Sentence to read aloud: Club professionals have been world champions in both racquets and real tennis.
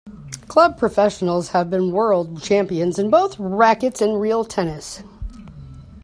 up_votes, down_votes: 2, 0